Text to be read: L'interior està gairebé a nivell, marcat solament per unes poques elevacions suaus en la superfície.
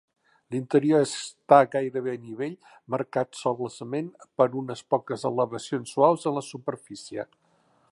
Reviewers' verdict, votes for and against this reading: rejected, 1, 3